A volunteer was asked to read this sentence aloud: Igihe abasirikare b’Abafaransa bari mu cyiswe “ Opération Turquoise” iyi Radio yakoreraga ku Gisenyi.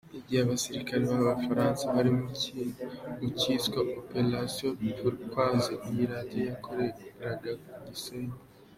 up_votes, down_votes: 2, 0